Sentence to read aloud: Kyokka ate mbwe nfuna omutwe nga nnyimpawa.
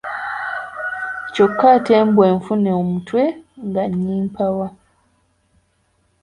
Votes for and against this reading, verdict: 2, 3, rejected